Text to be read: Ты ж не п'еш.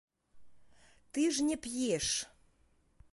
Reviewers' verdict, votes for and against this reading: accepted, 2, 0